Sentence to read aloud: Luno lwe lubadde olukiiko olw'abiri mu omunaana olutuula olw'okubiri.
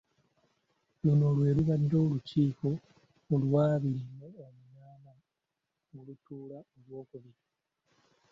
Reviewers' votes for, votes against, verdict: 2, 1, accepted